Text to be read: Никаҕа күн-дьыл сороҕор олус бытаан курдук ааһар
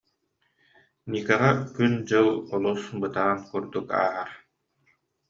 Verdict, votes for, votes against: rejected, 0, 2